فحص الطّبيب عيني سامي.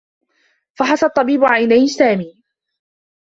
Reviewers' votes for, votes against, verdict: 2, 0, accepted